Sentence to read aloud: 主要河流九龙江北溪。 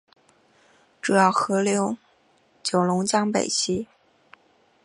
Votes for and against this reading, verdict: 3, 0, accepted